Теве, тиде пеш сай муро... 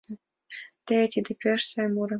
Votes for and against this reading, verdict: 2, 0, accepted